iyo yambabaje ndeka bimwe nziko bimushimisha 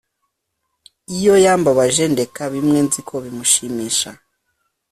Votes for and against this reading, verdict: 3, 0, accepted